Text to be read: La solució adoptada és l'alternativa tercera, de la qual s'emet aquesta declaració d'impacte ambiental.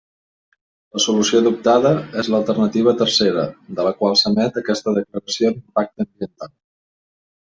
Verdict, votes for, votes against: rejected, 1, 2